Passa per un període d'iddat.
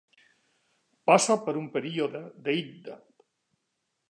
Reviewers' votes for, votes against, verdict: 1, 2, rejected